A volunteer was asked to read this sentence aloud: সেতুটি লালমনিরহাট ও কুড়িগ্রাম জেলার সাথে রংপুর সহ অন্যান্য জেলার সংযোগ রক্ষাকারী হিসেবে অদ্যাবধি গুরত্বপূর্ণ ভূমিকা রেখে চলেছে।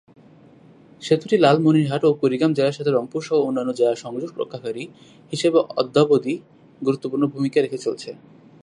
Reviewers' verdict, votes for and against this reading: accepted, 2, 0